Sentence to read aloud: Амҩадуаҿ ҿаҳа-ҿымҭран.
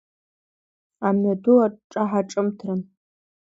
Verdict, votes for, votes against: accepted, 3, 0